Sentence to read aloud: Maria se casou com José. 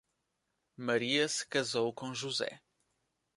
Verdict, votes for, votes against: accepted, 2, 0